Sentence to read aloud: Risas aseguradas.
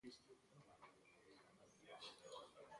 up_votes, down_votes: 0, 2